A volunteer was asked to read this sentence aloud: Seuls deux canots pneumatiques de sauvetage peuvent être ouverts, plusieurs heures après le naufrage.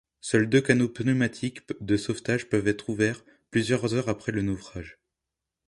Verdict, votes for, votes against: rejected, 1, 2